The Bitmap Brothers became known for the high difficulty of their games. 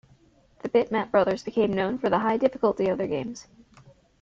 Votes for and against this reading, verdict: 2, 0, accepted